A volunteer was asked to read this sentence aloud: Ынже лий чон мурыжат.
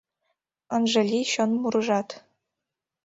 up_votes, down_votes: 2, 0